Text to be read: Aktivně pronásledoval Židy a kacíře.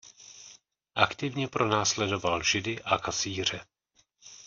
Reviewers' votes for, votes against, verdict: 2, 0, accepted